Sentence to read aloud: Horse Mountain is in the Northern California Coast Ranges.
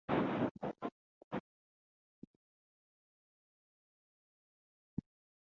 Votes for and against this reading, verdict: 0, 3, rejected